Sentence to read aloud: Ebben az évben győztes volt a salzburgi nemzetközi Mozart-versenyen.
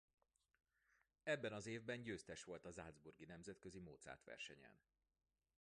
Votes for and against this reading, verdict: 0, 2, rejected